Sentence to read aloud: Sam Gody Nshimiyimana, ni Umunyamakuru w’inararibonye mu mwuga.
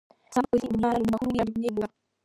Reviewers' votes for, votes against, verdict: 0, 2, rejected